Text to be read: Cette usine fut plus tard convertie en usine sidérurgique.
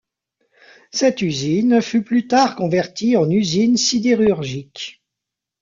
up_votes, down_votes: 1, 2